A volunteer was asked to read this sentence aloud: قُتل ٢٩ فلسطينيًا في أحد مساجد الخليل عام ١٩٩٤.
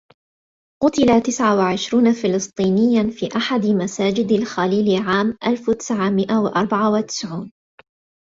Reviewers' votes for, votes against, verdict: 0, 2, rejected